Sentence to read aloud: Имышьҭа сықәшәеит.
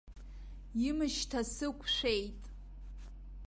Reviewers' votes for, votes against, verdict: 2, 0, accepted